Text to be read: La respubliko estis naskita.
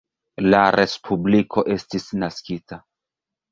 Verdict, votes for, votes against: rejected, 1, 2